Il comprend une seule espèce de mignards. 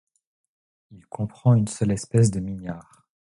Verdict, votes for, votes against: accepted, 2, 0